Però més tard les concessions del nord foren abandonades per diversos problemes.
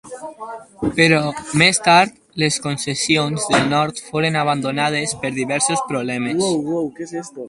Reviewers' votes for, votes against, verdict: 2, 2, rejected